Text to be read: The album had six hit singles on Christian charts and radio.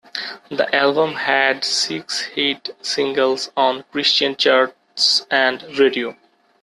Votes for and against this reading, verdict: 0, 2, rejected